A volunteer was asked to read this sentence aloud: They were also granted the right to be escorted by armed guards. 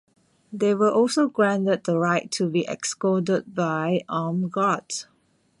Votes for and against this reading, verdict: 0, 2, rejected